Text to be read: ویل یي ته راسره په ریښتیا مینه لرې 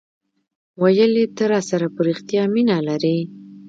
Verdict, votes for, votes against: rejected, 0, 2